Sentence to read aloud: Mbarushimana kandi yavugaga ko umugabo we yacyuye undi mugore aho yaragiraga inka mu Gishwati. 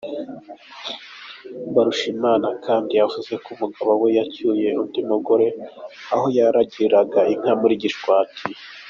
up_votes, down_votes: 2, 0